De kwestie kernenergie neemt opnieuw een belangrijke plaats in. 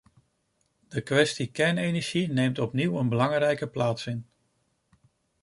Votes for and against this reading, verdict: 1, 2, rejected